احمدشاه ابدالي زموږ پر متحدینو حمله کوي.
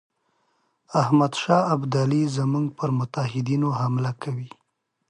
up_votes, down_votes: 2, 0